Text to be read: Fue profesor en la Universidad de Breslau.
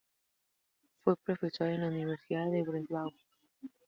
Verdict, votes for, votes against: rejected, 2, 4